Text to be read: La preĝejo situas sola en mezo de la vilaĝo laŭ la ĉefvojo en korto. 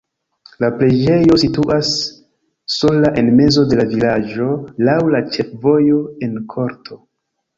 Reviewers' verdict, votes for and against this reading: accepted, 2, 0